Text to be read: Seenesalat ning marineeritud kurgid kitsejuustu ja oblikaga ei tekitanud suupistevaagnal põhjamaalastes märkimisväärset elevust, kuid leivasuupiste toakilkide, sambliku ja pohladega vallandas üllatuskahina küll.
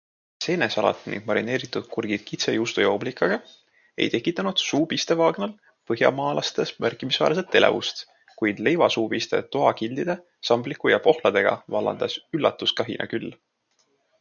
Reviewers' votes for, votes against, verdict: 1, 2, rejected